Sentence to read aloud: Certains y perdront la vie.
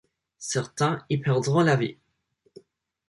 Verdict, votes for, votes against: accepted, 4, 0